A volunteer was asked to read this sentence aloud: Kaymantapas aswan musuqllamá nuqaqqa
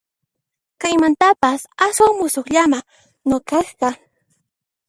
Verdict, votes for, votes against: rejected, 1, 2